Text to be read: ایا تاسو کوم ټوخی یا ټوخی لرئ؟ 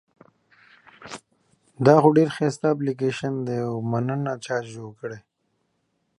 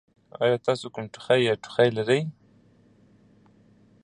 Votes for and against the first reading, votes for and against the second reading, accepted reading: 1, 2, 2, 0, second